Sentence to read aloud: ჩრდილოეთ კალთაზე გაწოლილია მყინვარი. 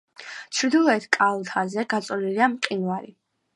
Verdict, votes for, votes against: accepted, 2, 1